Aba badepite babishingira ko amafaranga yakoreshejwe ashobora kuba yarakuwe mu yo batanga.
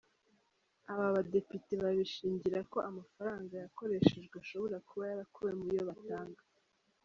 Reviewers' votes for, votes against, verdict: 0, 2, rejected